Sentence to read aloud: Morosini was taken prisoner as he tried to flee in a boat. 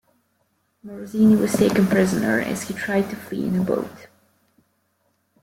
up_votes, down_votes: 2, 0